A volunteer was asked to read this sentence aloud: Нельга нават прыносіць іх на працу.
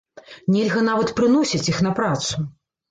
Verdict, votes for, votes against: accepted, 3, 0